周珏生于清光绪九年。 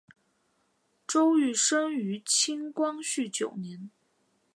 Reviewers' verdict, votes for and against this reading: accepted, 2, 0